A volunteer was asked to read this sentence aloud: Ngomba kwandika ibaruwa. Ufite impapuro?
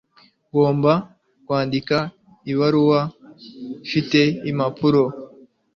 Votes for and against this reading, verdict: 2, 0, accepted